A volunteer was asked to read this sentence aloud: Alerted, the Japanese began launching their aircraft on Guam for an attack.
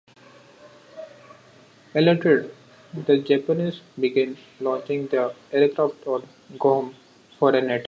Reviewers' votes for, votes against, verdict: 0, 2, rejected